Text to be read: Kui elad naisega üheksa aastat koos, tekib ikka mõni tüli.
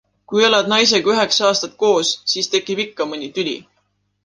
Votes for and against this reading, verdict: 0, 2, rejected